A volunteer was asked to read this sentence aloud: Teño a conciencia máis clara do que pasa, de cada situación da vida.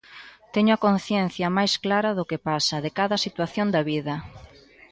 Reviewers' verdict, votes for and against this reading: rejected, 1, 2